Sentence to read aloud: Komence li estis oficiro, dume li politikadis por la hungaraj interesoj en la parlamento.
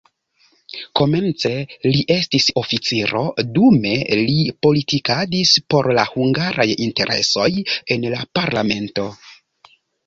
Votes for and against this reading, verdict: 2, 0, accepted